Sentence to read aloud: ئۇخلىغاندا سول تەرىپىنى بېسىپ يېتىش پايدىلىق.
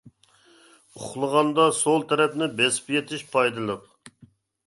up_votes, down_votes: 1, 2